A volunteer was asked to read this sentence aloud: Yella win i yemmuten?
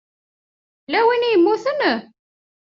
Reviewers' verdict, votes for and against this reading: accepted, 2, 0